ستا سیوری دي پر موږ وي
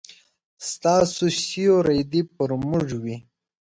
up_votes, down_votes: 2, 3